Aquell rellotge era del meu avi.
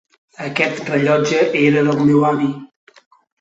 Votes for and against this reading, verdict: 1, 2, rejected